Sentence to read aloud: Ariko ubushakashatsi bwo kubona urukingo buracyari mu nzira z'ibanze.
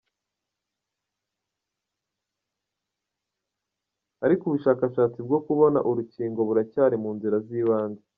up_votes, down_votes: 0, 2